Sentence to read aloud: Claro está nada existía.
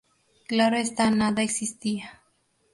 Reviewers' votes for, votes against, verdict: 0, 2, rejected